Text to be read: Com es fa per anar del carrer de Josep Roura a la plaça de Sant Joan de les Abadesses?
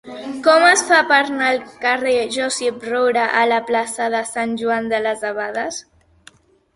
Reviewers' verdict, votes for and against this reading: rejected, 0, 2